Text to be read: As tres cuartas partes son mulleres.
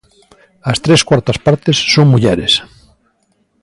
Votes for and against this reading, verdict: 2, 0, accepted